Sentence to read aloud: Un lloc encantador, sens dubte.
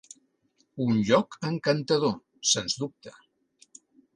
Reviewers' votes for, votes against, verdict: 3, 0, accepted